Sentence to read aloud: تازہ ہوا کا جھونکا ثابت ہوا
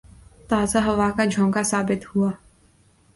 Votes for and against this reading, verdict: 2, 0, accepted